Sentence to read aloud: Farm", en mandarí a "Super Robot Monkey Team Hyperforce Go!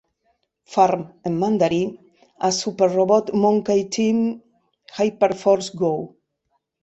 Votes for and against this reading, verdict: 2, 3, rejected